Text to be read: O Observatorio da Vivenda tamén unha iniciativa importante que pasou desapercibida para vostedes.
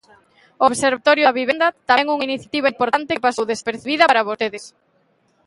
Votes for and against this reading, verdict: 0, 2, rejected